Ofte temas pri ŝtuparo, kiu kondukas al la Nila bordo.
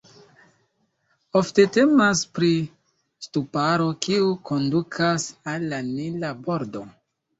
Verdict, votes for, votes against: rejected, 1, 2